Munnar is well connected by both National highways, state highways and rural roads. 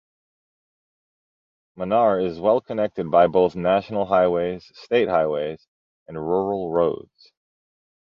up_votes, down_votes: 2, 0